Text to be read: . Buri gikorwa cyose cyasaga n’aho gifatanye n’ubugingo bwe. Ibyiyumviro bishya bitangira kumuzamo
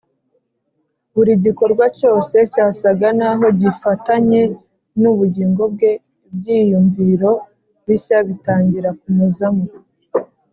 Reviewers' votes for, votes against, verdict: 3, 0, accepted